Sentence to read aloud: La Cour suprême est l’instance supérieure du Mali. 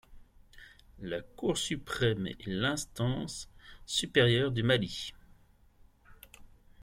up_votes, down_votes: 2, 0